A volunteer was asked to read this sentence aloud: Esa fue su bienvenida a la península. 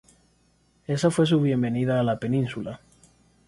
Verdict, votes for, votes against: accepted, 2, 0